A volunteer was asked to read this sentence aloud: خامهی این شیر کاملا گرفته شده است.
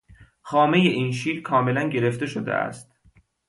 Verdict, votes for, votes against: accepted, 2, 0